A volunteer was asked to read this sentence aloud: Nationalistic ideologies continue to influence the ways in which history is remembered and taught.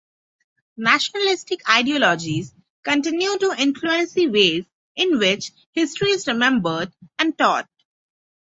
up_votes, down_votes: 0, 6